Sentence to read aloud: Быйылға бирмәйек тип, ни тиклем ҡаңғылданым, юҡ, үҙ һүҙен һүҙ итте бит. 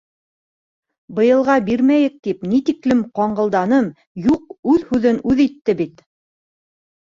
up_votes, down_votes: 1, 2